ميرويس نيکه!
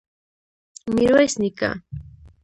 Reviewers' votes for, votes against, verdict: 1, 2, rejected